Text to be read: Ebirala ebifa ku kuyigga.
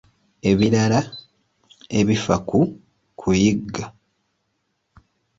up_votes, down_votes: 3, 0